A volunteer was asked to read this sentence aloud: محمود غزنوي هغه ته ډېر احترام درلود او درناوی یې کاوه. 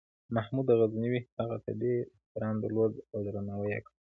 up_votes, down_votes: 2, 0